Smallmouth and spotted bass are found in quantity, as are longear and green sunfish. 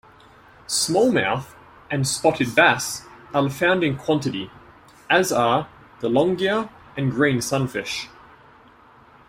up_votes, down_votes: 1, 2